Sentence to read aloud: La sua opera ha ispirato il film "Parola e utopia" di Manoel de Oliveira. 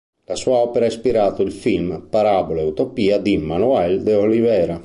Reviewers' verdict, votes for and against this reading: rejected, 2, 6